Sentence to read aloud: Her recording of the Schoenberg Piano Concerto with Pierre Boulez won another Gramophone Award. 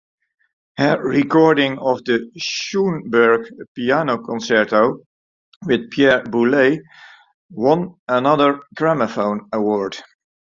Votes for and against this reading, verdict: 0, 2, rejected